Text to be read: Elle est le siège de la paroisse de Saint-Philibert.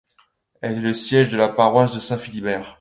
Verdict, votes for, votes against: accepted, 2, 0